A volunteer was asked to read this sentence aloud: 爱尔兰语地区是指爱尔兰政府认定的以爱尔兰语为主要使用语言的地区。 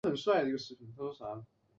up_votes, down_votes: 4, 3